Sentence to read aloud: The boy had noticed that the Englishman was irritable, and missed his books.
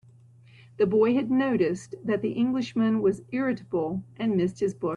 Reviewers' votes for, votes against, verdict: 3, 2, accepted